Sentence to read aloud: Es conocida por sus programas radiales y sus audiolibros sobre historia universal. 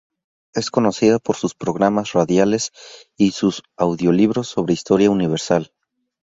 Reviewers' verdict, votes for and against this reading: accepted, 2, 0